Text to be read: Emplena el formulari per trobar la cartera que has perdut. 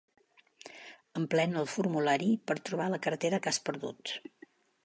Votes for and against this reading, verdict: 3, 0, accepted